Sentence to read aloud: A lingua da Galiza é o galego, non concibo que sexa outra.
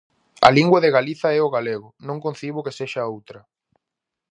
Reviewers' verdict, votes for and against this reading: rejected, 0, 4